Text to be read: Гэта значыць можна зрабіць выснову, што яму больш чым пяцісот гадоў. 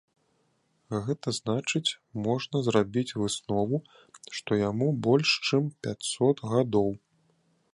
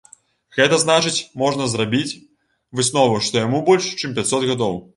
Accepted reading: first